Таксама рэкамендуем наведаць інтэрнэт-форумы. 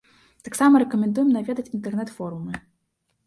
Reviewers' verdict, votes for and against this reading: accepted, 2, 0